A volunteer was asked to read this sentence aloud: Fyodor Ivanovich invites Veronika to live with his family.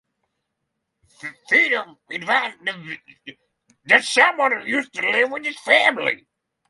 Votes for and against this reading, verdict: 0, 3, rejected